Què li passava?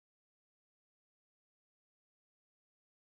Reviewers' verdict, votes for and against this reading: rejected, 0, 2